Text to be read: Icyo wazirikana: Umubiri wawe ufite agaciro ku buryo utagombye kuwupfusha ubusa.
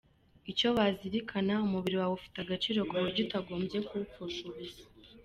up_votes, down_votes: 2, 0